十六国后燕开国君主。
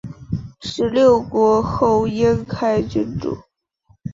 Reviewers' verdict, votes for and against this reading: rejected, 1, 2